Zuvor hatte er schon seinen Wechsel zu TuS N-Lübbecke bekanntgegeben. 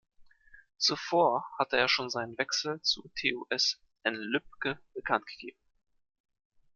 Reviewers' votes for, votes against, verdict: 1, 2, rejected